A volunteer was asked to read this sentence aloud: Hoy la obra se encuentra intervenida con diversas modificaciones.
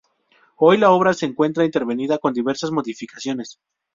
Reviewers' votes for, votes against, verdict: 4, 0, accepted